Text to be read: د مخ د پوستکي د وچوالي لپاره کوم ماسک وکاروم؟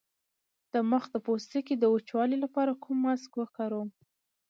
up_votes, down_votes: 1, 2